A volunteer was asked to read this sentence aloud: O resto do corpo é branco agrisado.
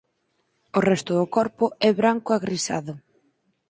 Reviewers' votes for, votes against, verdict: 4, 0, accepted